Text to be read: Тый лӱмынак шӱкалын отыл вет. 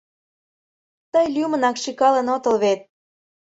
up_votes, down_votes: 2, 0